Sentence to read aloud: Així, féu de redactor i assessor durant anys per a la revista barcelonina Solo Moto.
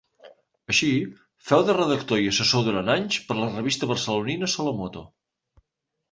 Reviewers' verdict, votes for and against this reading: accepted, 2, 0